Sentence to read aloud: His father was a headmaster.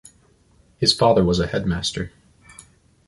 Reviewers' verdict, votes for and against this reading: accepted, 2, 1